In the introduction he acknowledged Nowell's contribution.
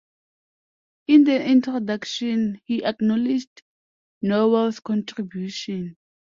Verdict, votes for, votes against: accepted, 2, 0